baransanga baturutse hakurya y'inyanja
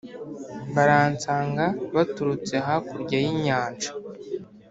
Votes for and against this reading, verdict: 2, 0, accepted